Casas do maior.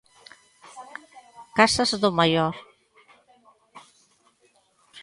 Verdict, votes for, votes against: rejected, 1, 2